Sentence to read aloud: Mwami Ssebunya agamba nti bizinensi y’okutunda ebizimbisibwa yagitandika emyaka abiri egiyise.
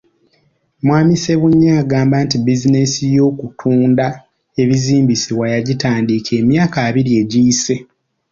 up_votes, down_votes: 2, 0